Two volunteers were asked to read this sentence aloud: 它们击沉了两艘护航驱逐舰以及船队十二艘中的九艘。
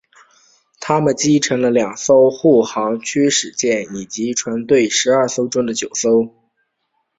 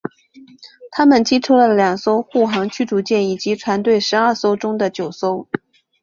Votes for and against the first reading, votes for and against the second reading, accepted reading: 1, 2, 2, 0, second